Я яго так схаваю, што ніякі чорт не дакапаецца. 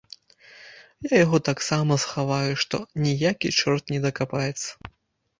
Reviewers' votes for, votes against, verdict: 1, 2, rejected